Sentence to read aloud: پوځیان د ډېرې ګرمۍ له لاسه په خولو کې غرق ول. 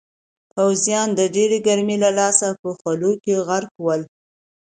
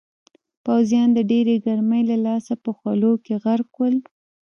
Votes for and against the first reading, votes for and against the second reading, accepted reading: 2, 0, 1, 2, first